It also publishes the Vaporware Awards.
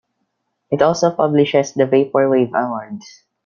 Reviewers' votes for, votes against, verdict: 1, 2, rejected